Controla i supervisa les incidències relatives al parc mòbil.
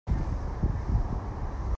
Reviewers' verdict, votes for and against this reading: rejected, 0, 2